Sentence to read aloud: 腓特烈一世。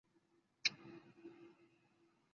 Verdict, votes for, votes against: rejected, 1, 2